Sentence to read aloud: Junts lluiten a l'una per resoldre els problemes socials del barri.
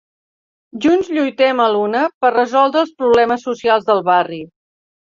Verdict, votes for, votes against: rejected, 0, 2